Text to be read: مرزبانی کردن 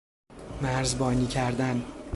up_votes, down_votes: 2, 0